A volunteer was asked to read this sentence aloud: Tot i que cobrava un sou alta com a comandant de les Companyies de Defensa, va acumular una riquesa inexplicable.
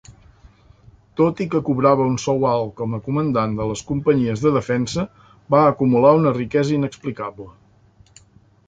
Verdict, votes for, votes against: accepted, 2, 0